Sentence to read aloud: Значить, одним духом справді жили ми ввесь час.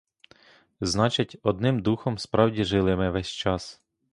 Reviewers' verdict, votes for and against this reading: accepted, 2, 0